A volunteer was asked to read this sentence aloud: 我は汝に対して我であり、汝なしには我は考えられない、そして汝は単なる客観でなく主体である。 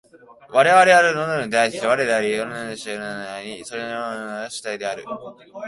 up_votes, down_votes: 1, 2